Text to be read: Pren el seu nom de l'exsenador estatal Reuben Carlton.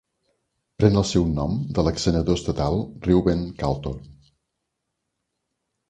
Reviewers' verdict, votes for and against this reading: accepted, 2, 0